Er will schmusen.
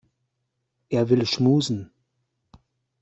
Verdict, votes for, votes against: accepted, 2, 0